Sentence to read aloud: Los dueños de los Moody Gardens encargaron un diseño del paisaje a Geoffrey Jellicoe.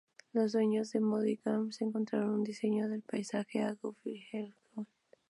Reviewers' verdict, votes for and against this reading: rejected, 0, 2